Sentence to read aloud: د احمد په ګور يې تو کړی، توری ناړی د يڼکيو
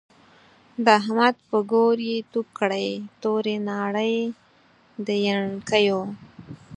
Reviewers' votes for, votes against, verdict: 6, 0, accepted